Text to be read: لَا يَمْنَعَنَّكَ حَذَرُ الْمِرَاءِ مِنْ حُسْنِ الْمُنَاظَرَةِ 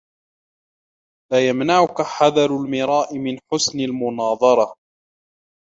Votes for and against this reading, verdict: 2, 1, accepted